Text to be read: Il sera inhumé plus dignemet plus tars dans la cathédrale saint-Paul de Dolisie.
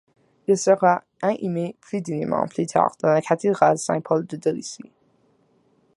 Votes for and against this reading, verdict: 0, 2, rejected